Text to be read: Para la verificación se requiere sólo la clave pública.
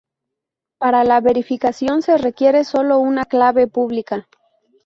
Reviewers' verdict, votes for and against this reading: rejected, 0, 2